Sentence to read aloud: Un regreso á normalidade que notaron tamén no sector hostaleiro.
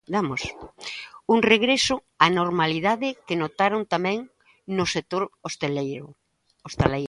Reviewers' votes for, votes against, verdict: 1, 2, rejected